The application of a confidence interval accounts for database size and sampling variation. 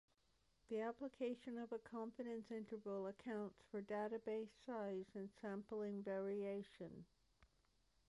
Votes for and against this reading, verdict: 2, 1, accepted